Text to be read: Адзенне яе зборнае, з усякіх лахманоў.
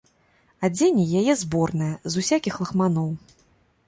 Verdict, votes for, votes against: accepted, 2, 0